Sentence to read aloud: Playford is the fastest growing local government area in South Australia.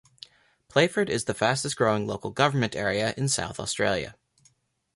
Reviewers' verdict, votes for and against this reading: accepted, 2, 0